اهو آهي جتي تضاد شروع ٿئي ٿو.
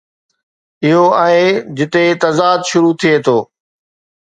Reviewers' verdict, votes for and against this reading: accepted, 2, 0